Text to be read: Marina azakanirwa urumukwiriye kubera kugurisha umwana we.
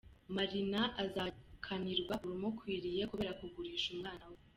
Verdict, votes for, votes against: accepted, 2, 1